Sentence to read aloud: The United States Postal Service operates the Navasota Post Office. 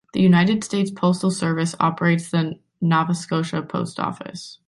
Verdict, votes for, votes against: rejected, 1, 2